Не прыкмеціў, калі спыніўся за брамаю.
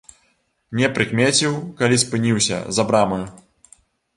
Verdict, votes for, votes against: rejected, 1, 2